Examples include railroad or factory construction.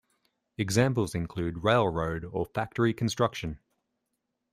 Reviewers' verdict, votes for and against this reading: accepted, 2, 0